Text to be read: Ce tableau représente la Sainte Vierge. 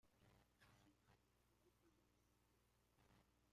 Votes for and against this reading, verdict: 0, 2, rejected